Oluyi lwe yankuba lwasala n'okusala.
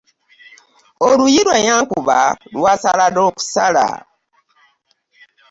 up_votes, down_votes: 2, 0